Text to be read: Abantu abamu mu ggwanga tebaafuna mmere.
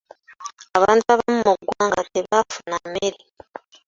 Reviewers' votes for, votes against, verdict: 1, 2, rejected